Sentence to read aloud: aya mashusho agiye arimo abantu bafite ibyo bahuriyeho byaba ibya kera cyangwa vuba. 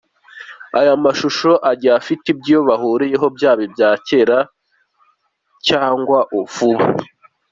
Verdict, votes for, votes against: rejected, 1, 2